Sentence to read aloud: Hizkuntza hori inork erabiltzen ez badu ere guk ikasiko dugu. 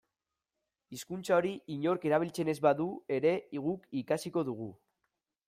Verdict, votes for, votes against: rejected, 1, 2